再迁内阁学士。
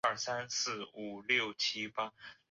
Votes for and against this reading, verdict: 1, 3, rejected